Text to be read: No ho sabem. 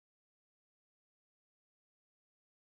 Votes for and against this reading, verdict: 0, 2, rejected